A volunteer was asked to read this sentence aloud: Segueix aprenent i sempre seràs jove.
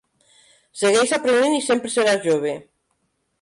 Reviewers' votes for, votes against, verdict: 2, 0, accepted